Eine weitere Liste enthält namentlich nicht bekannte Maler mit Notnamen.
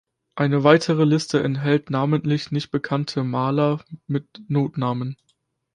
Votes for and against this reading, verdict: 1, 2, rejected